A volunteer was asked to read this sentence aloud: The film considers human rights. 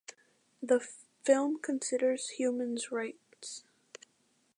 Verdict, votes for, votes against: rejected, 1, 2